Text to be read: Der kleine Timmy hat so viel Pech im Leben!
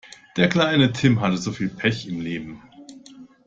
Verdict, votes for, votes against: rejected, 0, 2